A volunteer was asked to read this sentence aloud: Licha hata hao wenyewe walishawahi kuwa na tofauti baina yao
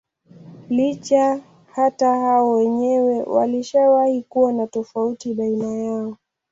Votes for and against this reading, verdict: 0, 2, rejected